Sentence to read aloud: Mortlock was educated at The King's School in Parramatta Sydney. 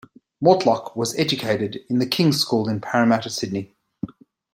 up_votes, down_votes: 0, 2